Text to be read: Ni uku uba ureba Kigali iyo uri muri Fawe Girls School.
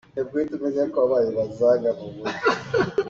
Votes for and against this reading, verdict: 0, 2, rejected